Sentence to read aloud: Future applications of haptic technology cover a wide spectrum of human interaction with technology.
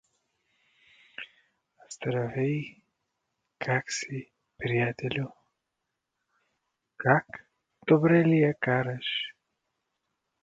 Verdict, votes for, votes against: rejected, 0, 2